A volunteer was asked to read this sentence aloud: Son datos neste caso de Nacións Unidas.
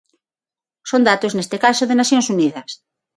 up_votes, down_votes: 6, 0